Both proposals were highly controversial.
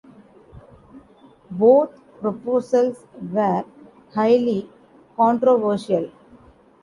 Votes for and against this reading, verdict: 2, 0, accepted